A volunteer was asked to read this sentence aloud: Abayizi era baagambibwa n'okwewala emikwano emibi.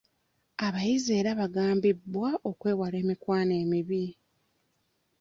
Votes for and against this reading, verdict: 1, 2, rejected